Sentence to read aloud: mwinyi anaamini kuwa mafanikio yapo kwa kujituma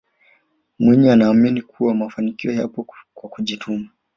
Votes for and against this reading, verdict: 4, 0, accepted